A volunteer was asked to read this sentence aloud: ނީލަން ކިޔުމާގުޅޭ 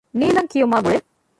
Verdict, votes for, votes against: rejected, 1, 2